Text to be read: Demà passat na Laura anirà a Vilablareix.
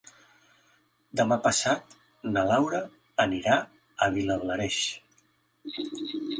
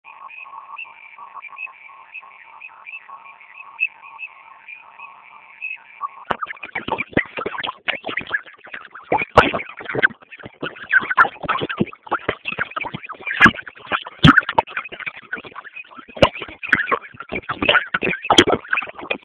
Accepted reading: first